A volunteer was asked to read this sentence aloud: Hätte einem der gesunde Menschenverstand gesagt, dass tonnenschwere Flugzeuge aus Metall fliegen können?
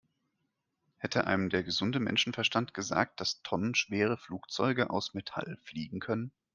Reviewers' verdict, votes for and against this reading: accepted, 2, 0